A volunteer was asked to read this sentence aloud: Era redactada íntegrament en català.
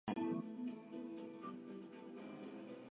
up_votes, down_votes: 0, 4